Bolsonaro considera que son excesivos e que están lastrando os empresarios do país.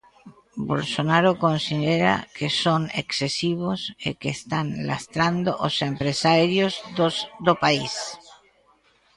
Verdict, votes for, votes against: rejected, 0, 2